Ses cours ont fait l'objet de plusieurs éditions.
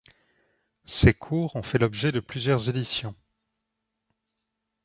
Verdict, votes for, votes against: accepted, 2, 0